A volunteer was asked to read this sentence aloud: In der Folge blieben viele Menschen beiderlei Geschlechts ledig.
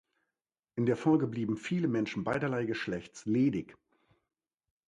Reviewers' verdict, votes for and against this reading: accepted, 2, 0